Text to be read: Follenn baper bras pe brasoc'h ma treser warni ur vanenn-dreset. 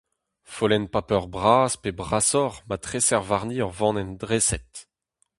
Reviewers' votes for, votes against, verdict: 0, 2, rejected